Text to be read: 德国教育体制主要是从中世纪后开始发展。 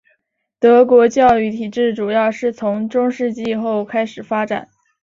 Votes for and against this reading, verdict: 2, 0, accepted